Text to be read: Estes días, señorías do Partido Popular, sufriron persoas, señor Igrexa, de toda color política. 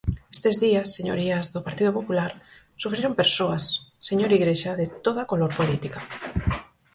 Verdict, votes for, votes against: accepted, 4, 0